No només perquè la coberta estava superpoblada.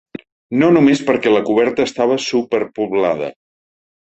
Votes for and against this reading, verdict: 3, 0, accepted